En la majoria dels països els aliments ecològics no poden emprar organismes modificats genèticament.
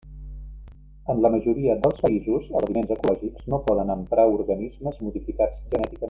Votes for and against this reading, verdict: 1, 2, rejected